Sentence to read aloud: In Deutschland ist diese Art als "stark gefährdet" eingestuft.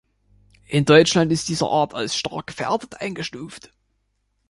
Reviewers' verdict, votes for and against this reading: rejected, 1, 2